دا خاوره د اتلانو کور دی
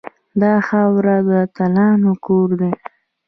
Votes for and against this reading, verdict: 1, 2, rejected